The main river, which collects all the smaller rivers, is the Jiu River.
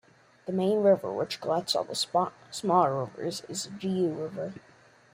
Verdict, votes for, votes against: rejected, 0, 2